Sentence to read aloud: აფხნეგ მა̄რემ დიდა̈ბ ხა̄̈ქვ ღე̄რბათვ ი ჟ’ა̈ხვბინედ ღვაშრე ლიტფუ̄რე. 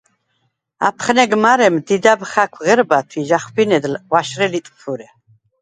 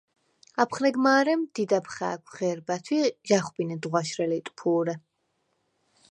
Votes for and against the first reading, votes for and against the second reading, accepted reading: 2, 4, 4, 0, second